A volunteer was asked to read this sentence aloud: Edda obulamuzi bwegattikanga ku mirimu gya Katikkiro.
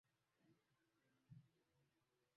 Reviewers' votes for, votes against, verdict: 0, 2, rejected